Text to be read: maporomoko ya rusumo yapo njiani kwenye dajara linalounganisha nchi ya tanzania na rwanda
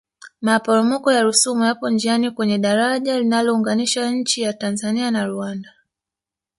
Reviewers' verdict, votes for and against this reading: accepted, 3, 1